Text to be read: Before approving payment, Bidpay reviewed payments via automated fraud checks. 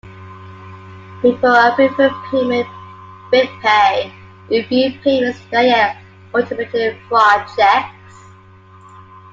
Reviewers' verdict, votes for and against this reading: accepted, 2, 0